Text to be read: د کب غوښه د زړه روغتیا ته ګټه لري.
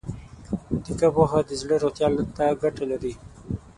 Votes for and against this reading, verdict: 0, 6, rejected